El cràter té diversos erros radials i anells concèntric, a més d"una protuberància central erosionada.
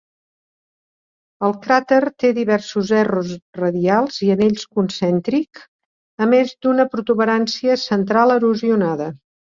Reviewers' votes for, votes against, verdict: 2, 0, accepted